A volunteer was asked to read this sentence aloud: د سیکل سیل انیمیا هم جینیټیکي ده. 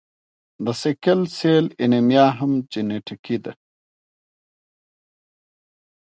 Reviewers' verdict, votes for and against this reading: rejected, 1, 2